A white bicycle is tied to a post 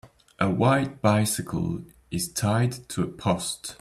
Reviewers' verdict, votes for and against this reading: accepted, 2, 0